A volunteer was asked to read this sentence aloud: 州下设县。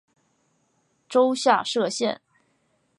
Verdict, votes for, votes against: accepted, 6, 0